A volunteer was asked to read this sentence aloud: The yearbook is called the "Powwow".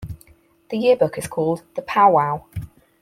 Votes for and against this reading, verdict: 4, 0, accepted